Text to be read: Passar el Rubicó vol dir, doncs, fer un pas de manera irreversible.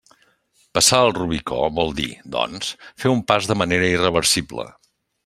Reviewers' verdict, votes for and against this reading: rejected, 1, 2